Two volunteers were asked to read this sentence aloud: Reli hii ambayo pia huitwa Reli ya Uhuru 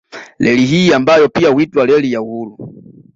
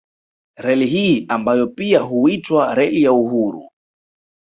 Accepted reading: second